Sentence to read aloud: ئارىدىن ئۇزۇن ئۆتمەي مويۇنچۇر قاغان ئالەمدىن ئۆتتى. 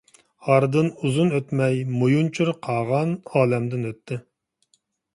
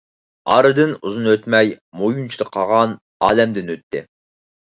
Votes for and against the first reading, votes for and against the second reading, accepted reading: 2, 0, 0, 4, first